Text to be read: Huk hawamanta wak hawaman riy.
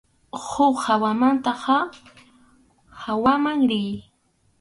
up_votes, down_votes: 2, 2